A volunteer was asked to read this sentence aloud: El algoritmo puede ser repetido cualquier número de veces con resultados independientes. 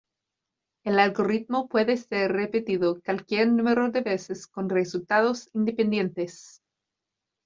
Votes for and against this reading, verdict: 1, 2, rejected